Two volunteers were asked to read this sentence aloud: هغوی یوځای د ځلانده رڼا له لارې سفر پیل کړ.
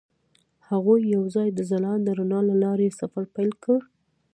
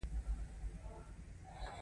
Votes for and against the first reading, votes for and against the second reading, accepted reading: 0, 2, 2, 0, second